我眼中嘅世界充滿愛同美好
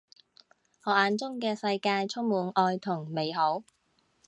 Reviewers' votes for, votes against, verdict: 2, 0, accepted